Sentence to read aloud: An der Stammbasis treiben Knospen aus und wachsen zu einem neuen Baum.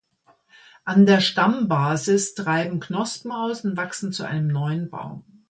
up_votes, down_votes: 2, 0